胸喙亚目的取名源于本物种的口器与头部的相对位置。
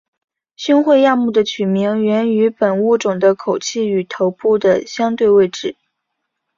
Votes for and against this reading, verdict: 2, 0, accepted